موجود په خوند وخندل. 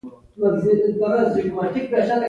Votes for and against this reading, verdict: 1, 2, rejected